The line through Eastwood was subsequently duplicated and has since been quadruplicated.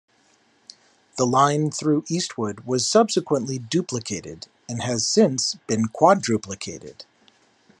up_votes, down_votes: 2, 0